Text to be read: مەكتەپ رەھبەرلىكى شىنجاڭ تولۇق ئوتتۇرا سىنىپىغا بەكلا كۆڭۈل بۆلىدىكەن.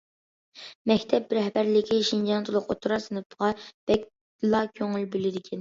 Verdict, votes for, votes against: accepted, 2, 1